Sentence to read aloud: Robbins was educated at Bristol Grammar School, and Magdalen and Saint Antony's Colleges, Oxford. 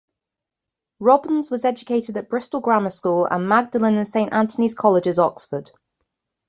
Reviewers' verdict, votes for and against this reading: accepted, 2, 0